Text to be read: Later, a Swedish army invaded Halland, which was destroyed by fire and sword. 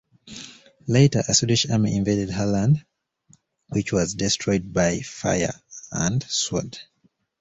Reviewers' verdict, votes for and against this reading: accepted, 2, 0